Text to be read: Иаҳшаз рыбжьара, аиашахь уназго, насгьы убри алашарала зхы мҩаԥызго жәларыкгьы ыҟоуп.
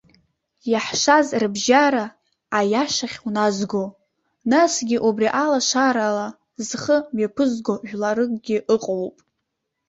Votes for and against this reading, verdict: 2, 1, accepted